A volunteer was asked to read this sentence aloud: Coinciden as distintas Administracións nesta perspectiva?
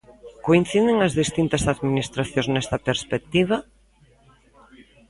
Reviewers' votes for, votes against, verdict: 1, 2, rejected